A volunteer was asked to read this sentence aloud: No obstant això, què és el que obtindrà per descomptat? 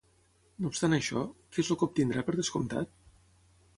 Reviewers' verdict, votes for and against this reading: rejected, 0, 3